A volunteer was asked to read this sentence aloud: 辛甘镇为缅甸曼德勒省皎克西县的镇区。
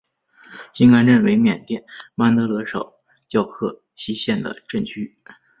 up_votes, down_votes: 5, 0